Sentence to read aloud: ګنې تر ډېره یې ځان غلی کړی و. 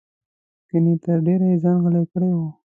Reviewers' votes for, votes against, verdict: 2, 0, accepted